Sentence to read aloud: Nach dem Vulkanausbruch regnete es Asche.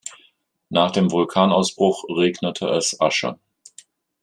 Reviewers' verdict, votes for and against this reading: accepted, 3, 0